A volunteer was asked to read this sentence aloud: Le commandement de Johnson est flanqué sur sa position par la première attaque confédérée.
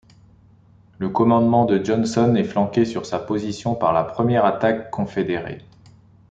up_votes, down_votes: 2, 0